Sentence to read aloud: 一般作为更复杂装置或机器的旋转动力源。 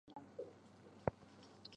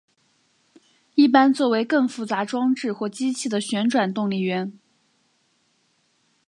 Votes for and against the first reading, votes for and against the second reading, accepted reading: 0, 4, 6, 0, second